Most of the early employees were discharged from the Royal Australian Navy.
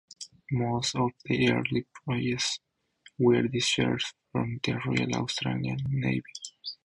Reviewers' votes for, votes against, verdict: 4, 0, accepted